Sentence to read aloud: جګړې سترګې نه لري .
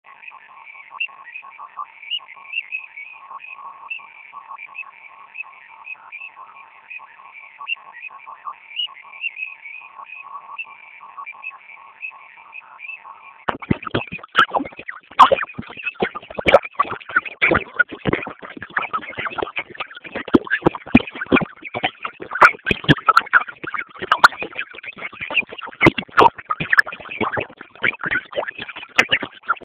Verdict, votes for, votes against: rejected, 0, 2